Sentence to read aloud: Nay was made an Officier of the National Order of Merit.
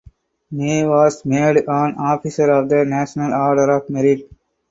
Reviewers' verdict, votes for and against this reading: accepted, 4, 0